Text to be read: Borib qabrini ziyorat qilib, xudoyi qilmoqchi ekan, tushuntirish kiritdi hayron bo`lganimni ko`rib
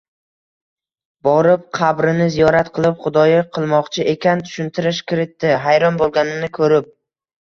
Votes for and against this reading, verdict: 1, 2, rejected